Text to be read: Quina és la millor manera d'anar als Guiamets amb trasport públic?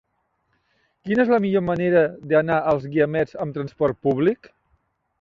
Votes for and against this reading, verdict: 3, 0, accepted